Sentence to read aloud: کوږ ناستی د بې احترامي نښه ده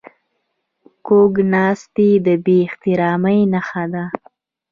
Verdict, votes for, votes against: accepted, 2, 0